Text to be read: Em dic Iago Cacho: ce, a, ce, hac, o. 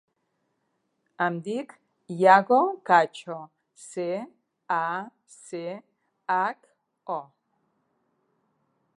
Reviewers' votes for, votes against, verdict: 2, 0, accepted